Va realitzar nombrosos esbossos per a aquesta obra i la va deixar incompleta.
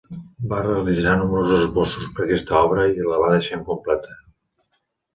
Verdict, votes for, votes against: accepted, 3, 1